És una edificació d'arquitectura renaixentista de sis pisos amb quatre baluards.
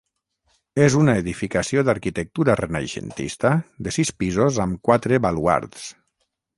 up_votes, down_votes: 12, 0